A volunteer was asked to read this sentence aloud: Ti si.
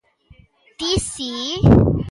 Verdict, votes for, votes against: accepted, 2, 0